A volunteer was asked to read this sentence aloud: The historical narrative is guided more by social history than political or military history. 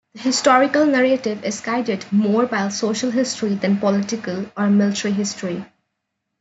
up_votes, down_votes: 2, 0